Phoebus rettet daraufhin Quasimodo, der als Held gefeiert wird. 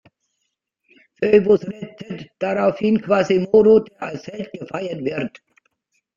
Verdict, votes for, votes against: rejected, 1, 2